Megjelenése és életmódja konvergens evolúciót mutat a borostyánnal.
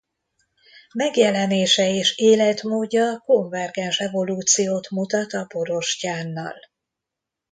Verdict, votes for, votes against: accepted, 2, 0